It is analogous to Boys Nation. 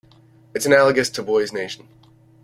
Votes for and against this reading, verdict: 0, 2, rejected